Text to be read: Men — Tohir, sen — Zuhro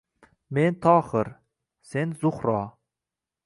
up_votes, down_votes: 2, 0